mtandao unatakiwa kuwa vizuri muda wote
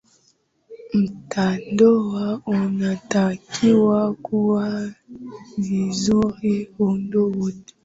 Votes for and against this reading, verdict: 0, 2, rejected